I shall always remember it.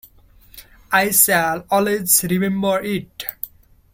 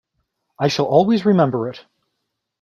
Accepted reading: second